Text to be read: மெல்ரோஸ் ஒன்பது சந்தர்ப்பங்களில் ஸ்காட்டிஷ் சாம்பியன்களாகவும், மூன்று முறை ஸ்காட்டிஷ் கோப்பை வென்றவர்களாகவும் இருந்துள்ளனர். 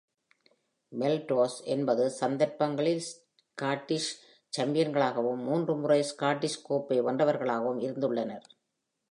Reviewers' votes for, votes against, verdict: 2, 1, accepted